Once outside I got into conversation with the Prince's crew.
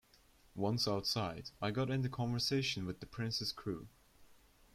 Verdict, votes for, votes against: accepted, 2, 0